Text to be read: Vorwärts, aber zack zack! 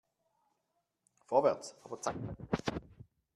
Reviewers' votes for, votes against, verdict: 0, 2, rejected